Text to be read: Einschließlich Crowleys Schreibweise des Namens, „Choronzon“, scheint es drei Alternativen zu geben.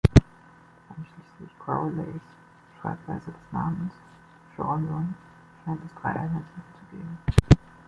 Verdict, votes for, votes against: rejected, 1, 2